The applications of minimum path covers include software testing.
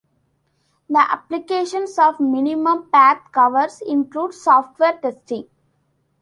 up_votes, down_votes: 2, 0